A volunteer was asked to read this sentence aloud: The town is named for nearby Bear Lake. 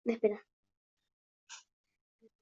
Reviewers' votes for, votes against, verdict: 1, 2, rejected